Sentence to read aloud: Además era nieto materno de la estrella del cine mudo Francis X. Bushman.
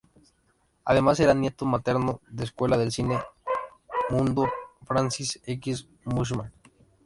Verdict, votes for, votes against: rejected, 0, 2